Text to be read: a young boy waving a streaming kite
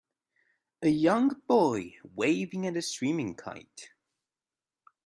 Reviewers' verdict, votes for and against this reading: rejected, 0, 2